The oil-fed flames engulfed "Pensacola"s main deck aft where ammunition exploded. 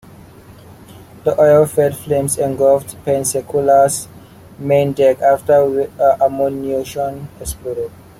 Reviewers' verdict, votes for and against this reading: rejected, 0, 2